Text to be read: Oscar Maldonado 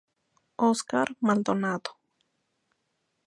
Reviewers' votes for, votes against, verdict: 2, 0, accepted